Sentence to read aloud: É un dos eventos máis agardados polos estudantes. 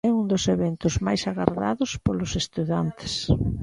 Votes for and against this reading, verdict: 1, 2, rejected